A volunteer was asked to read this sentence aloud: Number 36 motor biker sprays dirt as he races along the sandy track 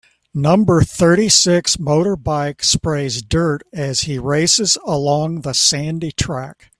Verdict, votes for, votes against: rejected, 0, 2